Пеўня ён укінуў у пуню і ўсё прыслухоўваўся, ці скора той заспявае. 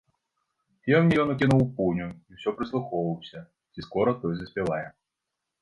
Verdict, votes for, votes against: rejected, 1, 3